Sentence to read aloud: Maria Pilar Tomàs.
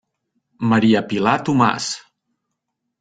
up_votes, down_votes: 3, 0